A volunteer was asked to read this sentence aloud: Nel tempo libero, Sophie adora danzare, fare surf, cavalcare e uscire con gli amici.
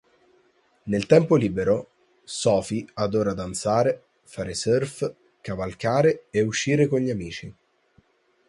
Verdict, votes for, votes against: accepted, 4, 0